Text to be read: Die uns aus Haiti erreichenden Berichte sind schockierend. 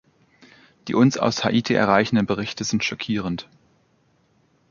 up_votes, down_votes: 2, 1